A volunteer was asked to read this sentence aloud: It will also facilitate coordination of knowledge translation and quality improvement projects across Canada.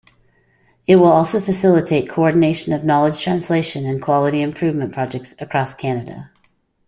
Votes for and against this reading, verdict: 2, 0, accepted